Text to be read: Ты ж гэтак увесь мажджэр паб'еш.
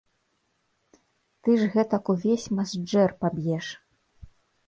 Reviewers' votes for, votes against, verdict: 1, 2, rejected